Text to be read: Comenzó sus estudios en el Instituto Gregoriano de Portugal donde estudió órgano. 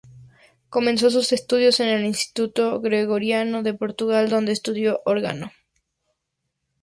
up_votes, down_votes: 4, 0